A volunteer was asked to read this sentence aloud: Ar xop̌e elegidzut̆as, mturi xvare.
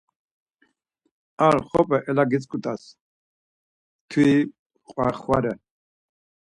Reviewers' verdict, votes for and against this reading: accepted, 4, 2